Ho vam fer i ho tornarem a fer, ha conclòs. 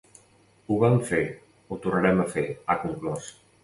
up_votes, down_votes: 1, 2